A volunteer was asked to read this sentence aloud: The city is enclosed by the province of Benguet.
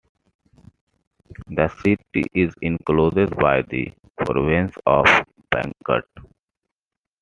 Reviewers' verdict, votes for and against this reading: rejected, 1, 2